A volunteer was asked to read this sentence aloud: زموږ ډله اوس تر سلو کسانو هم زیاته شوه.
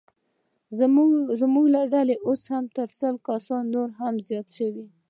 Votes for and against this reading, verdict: 2, 0, accepted